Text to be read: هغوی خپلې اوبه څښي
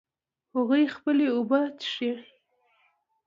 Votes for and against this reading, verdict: 2, 0, accepted